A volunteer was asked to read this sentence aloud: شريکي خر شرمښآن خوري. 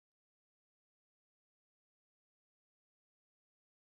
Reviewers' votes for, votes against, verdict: 0, 2, rejected